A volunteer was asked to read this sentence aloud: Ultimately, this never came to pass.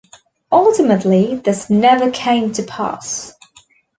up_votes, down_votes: 2, 0